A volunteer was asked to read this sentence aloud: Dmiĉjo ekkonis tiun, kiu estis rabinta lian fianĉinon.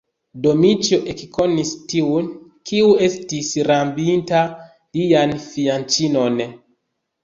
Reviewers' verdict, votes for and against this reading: rejected, 1, 2